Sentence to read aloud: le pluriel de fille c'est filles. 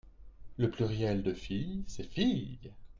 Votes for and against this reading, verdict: 2, 0, accepted